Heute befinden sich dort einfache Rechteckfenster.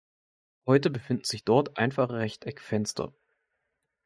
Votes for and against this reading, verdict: 2, 1, accepted